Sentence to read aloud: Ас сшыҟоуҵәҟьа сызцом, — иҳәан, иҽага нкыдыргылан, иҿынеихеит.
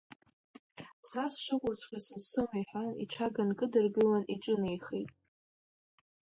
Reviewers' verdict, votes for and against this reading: rejected, 1, 2